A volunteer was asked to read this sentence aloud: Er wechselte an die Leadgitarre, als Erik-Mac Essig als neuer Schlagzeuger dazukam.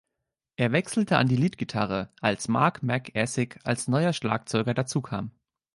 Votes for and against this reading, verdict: 1, 3, rejected